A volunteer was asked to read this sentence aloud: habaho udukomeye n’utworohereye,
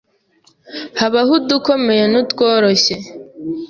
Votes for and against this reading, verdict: 1, 2, rejected